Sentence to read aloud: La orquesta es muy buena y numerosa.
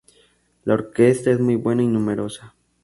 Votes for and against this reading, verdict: 2, 0, accepted